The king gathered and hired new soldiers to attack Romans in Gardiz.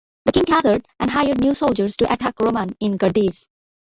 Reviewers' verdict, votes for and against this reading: rejected, 0, 2